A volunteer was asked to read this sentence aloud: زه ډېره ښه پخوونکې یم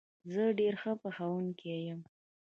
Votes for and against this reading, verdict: 1, 2, rejected